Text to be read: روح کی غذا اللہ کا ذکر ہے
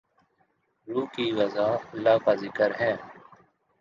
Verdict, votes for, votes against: accepted, 2, 0